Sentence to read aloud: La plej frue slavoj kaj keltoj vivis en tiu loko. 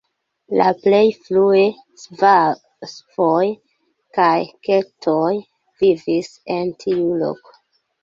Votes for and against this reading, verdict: 0, 2, rejected